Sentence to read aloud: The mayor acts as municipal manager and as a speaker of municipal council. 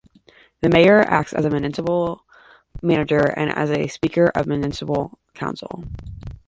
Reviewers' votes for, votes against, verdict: 1, 2, rejected